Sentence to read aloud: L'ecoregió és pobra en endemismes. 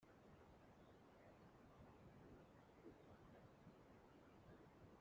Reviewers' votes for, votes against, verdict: 0, 2, rejected